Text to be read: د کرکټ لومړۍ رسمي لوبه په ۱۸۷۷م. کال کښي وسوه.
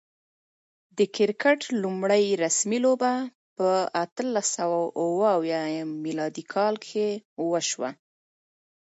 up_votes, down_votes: 0, 2